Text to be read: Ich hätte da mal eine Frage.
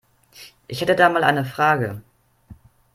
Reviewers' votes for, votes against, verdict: 2, 0, accepted